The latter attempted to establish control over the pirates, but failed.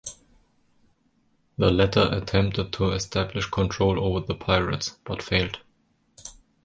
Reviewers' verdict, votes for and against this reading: rejected, 1, 2